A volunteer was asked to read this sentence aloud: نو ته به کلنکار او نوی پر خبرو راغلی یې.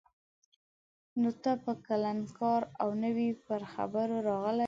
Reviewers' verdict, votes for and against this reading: rejected, 2, 4